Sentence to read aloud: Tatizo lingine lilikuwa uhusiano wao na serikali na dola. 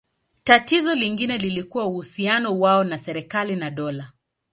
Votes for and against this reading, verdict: 2, 0, accepted